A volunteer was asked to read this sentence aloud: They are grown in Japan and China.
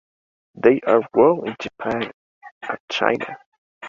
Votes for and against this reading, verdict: 2, 0, accepted